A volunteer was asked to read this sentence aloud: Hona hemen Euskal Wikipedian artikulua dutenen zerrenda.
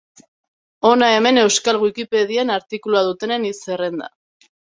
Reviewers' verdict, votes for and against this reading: rejected, 1, 2